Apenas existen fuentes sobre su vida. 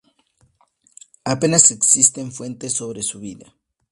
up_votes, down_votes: 2, 0